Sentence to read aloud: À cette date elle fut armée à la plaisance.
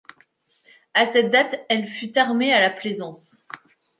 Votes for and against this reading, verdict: 2, 0, accepted